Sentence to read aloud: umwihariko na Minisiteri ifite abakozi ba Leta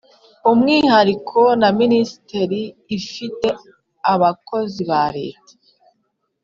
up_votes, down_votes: 1, 2